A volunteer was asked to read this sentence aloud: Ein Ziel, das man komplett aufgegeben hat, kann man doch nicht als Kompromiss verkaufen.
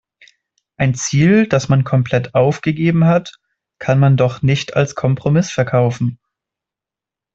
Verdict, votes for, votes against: accepted, 2, 0